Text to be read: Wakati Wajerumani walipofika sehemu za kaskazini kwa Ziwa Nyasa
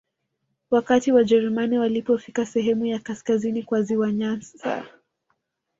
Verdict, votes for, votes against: rejected, 1, 2